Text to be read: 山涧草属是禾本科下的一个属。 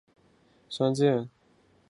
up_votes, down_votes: 0, 4